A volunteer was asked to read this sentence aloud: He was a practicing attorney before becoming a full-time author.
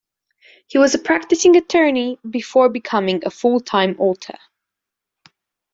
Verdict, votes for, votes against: rejected, 1, 2